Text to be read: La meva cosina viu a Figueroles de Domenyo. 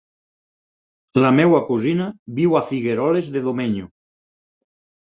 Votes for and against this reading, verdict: 2, 4, rejected